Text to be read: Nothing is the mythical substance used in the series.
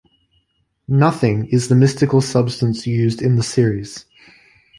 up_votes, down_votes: 0, 2